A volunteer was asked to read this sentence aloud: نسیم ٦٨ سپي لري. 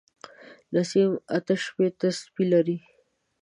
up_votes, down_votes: 0, 2